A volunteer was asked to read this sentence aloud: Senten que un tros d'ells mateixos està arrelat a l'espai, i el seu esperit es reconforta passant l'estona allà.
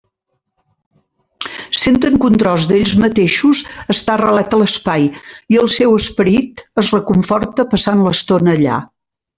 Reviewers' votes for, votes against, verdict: 2, 0, accepted